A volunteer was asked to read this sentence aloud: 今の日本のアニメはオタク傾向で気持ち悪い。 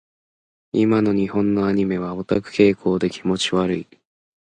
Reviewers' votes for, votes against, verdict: 1, 2, rejected